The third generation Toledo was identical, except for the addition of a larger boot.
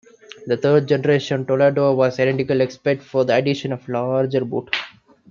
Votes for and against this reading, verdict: 0, 2, rejected